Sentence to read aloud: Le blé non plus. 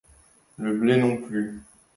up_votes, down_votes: 2, 1